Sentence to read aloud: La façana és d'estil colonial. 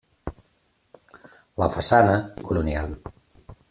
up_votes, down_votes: 0, 2